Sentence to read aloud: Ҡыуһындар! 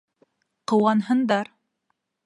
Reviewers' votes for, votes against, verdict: 0, 2, rejected